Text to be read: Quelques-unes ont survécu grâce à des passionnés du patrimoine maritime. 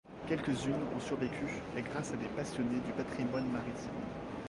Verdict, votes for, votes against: rejected, 0, 2